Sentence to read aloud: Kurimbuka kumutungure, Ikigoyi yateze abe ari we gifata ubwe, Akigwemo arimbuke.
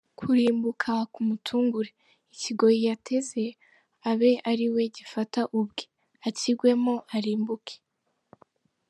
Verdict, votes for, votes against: accepted, 2, 1